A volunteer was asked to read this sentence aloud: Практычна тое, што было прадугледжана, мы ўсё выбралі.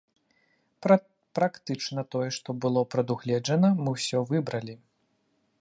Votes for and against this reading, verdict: 0, 2, rejected